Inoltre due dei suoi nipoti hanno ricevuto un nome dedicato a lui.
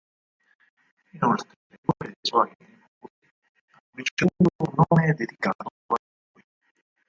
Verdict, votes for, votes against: rejected, 0, 4